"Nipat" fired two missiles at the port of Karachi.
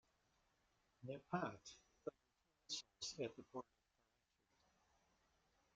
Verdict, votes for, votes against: rejected, 0, 2